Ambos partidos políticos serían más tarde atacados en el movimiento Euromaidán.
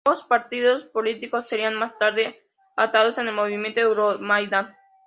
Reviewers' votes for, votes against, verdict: 0, 2, rejected